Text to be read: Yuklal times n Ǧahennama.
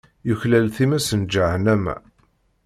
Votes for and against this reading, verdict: 2, 0, accepted